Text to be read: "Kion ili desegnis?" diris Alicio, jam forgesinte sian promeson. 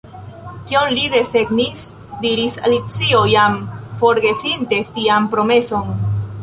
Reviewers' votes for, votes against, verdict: 1, 2, rejected